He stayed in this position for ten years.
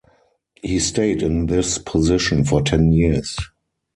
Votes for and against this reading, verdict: 4, 0, accepted